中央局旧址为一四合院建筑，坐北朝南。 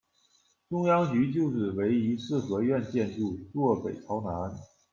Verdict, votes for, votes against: accepted, 2, 0